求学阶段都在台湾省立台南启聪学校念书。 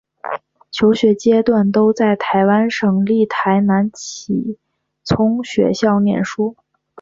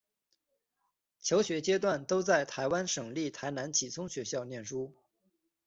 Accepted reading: second